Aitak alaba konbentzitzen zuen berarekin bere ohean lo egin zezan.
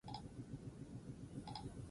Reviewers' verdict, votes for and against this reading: rejected, 0, 8